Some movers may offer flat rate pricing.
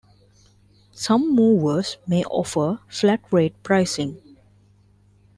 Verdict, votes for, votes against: accepted, 2, 0